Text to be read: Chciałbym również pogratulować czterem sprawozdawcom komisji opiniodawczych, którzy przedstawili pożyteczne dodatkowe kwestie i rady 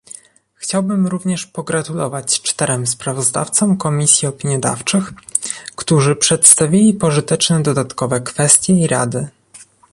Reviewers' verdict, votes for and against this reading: accepted, 2, 0